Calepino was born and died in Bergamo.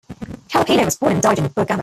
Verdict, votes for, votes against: rejected, 0, 2